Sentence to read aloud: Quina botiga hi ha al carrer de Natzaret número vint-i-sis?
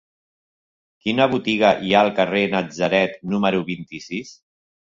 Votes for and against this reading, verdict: 1, 2, rejected